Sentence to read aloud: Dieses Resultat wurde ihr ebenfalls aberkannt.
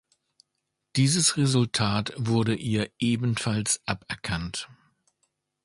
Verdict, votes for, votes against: accepted, 2, 0